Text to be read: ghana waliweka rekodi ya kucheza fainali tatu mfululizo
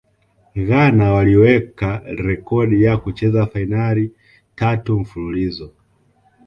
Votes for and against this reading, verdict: 2, 0, accepted